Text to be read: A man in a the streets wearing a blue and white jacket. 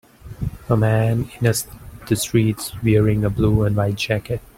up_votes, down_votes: 0, 2